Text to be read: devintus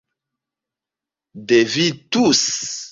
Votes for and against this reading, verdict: 1, 2, rejected